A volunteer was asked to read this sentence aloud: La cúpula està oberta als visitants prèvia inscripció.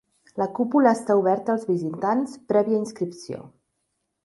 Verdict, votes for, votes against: accepted, 3, 0